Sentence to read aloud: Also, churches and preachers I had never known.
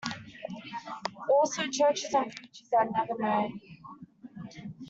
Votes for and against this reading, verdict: 1, 2, rejected